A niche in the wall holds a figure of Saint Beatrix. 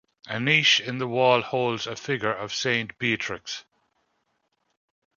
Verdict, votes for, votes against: accepted, 2, 0